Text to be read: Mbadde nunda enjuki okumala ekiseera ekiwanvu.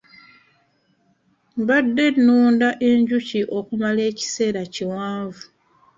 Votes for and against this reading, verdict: 2, 0, accepted